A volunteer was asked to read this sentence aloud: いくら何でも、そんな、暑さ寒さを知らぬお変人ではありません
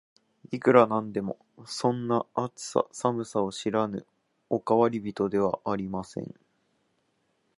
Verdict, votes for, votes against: rejected, 1, 2